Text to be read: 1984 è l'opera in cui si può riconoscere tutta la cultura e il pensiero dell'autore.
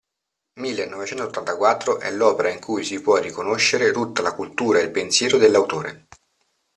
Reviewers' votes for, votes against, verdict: 0, 2, rejected